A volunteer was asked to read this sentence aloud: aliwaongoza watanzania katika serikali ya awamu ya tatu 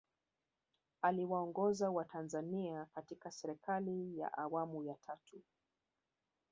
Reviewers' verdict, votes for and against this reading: rejected, 0, 2